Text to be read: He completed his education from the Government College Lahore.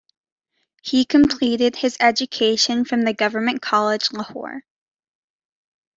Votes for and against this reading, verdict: 2, 0, accepted